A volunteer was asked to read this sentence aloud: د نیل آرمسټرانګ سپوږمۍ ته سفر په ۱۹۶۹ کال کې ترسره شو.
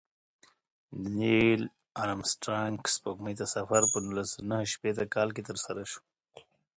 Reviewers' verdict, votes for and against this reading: rejected, 0, 2